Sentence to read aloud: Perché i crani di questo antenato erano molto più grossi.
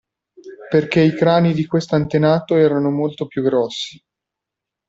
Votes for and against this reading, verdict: 1, 2, rejected